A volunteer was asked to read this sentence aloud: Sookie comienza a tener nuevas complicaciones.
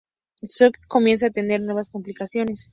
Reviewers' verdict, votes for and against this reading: rejected, 2, 2